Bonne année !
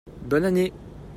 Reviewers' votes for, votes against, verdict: 2, 0, accepted